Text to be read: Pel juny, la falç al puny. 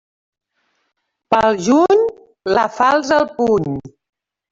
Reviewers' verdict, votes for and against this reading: accepted, 2, 0